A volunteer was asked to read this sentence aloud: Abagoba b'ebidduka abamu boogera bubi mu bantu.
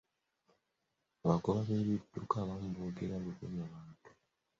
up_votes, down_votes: 0, 2